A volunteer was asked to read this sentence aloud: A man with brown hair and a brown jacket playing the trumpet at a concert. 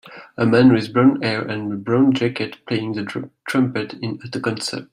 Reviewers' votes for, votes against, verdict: 0, 2, rejected